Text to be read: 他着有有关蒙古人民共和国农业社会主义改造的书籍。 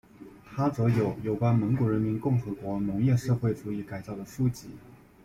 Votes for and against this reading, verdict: 0, 2, rejected